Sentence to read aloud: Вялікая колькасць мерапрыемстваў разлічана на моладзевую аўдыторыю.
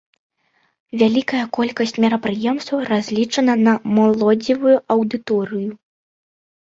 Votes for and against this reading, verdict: 1, 2, rejected